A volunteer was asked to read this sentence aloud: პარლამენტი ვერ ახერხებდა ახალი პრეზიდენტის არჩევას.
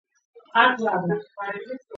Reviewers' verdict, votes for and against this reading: rejected, 0, 3